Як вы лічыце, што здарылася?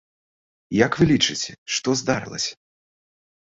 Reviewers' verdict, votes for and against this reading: accepted, 2, 0